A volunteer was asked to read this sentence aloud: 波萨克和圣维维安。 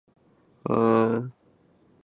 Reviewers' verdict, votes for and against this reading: rejected, 0, 4